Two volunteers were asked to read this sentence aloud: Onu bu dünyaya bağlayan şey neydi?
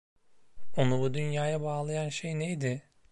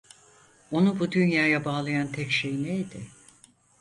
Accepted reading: first